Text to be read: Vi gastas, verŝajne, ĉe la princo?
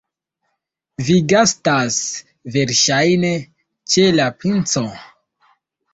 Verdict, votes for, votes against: rejected, 1, 2